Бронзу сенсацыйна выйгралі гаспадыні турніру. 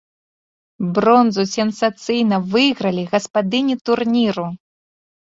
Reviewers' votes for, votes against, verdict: 2, 0, accepted